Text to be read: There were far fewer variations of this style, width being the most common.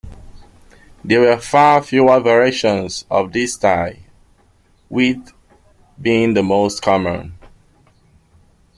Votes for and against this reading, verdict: 0, 2, rejected